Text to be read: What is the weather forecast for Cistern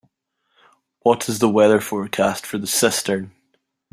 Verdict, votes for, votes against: rejected, 0, 2